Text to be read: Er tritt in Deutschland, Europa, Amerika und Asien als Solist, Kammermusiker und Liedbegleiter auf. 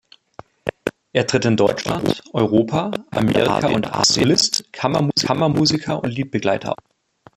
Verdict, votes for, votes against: rejected, 0, 2